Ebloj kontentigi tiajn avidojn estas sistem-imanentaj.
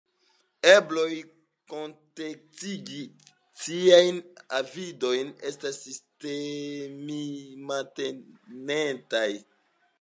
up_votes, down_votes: 1, 2